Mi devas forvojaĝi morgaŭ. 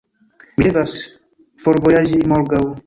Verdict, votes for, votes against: rejected, 1, 2